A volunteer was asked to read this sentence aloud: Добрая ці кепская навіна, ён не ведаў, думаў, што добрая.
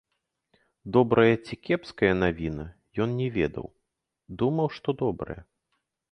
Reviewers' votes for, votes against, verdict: 2, 1, accepted